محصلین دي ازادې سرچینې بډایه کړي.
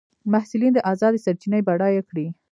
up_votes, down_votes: 0, 2